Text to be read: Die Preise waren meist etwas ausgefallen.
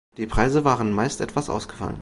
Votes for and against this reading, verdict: 1, 2, rejected